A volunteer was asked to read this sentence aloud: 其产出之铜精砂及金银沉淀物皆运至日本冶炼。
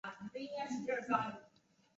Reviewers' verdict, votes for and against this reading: rejected, 1, 2